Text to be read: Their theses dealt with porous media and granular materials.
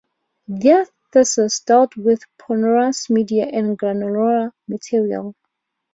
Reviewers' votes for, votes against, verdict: 0, 2, rejected